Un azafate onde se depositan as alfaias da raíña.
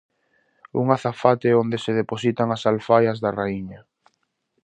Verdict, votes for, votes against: accepted, 2, 0